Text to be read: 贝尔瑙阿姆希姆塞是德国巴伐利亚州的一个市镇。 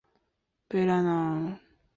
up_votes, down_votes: 0, 3